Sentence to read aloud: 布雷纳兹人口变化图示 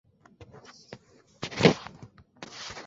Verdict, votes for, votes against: rejected, 0, 2